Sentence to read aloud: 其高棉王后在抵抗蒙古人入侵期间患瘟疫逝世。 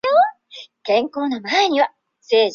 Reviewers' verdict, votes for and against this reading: rejected, 0, 2